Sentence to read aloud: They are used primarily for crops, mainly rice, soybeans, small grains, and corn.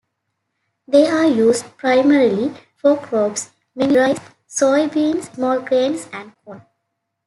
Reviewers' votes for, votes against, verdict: 1, 2, rejected